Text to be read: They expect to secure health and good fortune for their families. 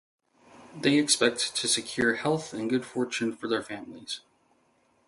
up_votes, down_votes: 2, 0